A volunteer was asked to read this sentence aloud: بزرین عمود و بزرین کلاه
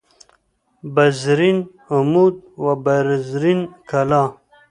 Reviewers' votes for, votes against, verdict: 2, 0, accepted